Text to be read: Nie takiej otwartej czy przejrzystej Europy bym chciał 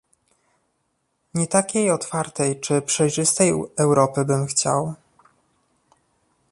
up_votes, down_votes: 1, 2